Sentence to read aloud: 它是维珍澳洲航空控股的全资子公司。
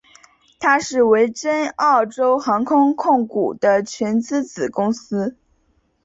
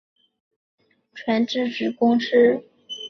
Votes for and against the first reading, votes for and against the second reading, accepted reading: 2, 0, 0, 2, first